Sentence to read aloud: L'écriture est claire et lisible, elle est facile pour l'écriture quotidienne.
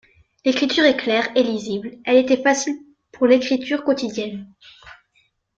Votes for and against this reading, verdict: 0, 2, rejected